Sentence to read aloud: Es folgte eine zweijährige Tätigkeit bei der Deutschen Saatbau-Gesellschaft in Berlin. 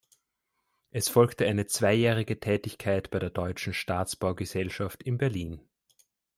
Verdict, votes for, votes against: rejected, 0, 2